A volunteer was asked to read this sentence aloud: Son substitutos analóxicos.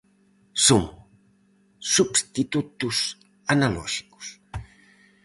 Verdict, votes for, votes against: accepted, 4, 0